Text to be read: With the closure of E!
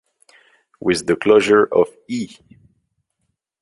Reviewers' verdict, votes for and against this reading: accepted, 2, 0